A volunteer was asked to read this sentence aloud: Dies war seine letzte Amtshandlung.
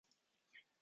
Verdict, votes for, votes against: rejected, 0, 2